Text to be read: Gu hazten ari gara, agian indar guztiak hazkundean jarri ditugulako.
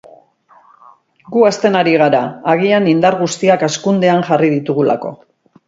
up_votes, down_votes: 2, 0